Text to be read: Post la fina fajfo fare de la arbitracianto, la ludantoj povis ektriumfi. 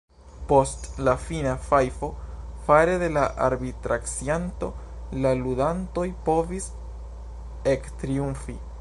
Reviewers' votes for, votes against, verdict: 2, 0, accepted